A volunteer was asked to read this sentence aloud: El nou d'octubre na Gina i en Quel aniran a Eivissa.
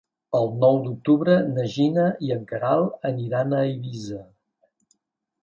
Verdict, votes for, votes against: rejected, 0, 2